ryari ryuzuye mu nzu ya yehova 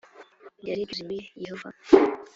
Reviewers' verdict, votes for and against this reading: rejected, 1, 2